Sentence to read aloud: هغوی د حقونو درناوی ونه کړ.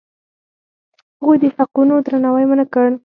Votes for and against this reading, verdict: 4, 0, accepted